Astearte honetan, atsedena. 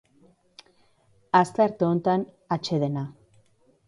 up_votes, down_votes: 2, 0